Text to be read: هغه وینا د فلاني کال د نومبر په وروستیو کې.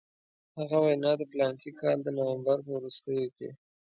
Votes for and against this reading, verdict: 2, 1, accepted